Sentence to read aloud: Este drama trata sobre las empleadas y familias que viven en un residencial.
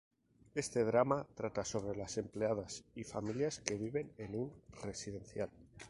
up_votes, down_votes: 4, 0